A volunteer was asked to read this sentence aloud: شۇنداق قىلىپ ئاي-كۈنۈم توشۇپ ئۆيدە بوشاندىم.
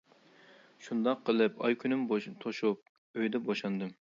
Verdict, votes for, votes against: rejected, 1, 2